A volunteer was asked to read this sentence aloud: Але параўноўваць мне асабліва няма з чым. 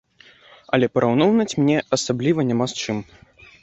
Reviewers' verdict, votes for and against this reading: rejected, 1, 2